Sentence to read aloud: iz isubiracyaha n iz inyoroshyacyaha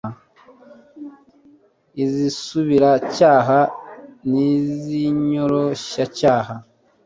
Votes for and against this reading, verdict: 2, 0, accepted